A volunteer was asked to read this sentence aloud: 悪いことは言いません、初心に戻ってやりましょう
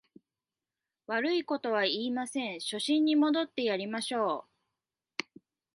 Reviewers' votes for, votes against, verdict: 2, 1, accepted